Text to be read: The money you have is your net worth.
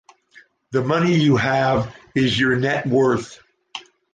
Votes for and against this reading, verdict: 2, 0, accepted